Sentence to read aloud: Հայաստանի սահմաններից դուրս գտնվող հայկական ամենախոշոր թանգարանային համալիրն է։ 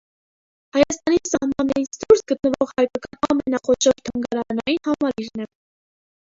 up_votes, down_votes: 0, 2